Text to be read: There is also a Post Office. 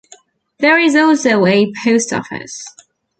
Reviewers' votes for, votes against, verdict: 2, 1, accepted